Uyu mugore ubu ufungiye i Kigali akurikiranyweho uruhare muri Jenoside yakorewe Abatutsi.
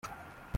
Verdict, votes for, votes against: rejected, 1, 2